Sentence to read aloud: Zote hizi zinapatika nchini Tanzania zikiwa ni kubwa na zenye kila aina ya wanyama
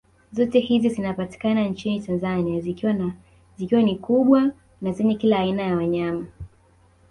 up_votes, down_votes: 2, 1